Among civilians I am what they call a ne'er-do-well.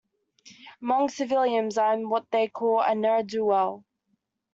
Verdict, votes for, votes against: accepted, 2, 1